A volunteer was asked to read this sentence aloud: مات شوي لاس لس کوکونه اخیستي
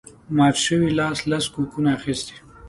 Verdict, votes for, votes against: accepted, 2, 0